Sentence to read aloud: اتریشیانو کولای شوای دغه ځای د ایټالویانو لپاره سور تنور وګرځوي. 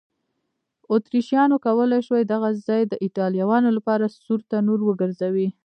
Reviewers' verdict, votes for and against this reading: rejected, 0, 2